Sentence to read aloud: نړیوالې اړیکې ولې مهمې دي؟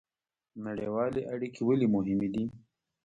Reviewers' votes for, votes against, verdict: 1, 2, rejected